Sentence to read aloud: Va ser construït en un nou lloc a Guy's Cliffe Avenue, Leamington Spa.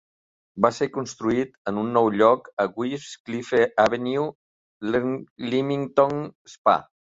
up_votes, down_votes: 1, 2